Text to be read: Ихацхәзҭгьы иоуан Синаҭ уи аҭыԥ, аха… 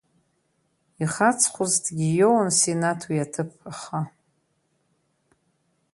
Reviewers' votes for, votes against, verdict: 1, 2, rejected